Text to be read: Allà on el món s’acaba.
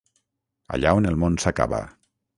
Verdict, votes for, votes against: accepted, 6, 0